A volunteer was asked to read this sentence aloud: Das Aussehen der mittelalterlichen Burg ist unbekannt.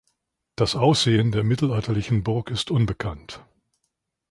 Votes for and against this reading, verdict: 2, 0, accepted